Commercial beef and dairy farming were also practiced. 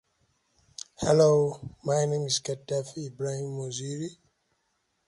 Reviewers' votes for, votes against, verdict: 0, 2, rejected